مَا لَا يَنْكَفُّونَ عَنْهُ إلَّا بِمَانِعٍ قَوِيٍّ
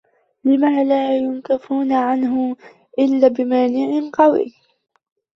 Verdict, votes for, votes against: rejected, 0, 2